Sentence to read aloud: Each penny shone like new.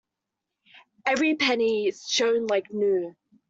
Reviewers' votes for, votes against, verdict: 1, 2, rejected